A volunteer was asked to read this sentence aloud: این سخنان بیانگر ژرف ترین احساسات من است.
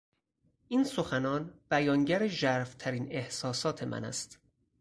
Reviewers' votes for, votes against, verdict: 4, 0, accepted